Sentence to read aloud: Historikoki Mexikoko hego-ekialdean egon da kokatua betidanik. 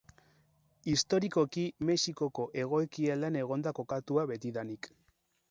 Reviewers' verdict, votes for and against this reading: rejected, 2, 2